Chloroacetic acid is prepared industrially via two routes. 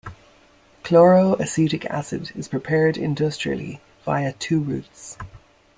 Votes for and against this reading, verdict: 2, 0, accepted